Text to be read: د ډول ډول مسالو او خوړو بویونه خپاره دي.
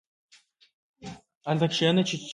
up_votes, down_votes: 0, 2